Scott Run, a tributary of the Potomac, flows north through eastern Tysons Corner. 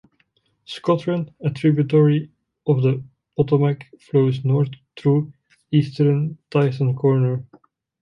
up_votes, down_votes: 0, 2